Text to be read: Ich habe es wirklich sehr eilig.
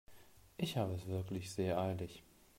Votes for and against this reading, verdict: 1, 2, rejected